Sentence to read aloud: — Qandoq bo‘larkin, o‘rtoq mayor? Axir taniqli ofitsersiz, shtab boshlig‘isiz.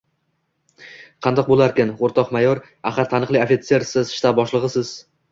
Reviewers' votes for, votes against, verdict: 2, 0, accepted